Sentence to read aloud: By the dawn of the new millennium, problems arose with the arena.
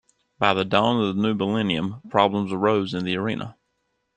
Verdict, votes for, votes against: rejected, 1, 2